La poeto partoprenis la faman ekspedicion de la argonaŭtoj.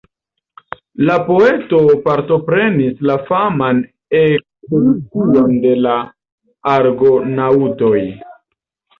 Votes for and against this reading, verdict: 1, 2, rejected